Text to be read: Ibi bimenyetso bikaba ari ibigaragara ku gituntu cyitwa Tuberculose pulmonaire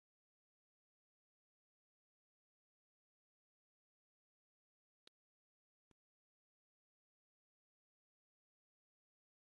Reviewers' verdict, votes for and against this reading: rejected, 1, 2